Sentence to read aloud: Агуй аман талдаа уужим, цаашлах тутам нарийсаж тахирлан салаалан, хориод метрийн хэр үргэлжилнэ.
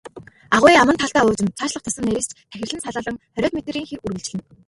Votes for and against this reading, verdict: 0, 2, rejected